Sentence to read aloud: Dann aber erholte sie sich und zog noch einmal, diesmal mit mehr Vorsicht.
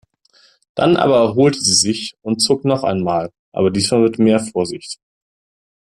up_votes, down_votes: 0, 2